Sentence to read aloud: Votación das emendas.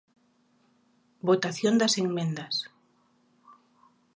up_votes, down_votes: 0, 2